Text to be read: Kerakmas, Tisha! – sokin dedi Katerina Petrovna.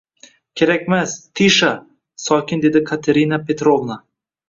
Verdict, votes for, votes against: accepted, 2, 0